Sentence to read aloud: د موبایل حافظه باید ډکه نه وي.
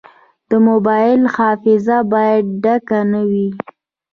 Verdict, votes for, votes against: accepted, 3, 1